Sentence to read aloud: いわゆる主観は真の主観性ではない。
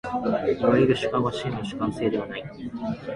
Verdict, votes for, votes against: accepted, 2, 0